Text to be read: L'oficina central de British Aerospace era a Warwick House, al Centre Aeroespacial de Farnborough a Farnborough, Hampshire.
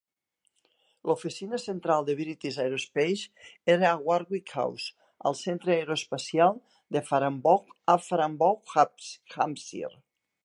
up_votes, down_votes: 1, 2